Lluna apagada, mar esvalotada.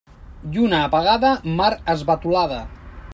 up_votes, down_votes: 0, 2